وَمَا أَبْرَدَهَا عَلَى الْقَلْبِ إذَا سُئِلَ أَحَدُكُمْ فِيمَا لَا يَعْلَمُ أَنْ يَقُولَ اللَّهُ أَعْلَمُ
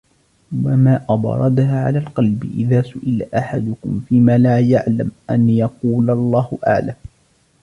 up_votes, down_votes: 1, 2